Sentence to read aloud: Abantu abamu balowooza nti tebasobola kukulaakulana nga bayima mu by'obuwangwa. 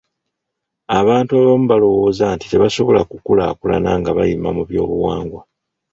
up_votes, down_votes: 1, 2